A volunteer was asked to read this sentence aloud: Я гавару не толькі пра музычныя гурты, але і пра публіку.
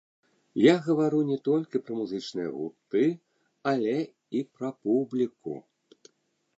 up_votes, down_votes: 1, 3